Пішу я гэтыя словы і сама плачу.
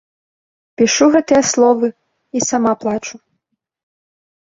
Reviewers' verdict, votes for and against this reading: rejected, 0, 2